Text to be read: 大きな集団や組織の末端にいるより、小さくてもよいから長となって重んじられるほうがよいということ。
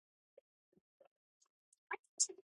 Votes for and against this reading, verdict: 2, 1, accepted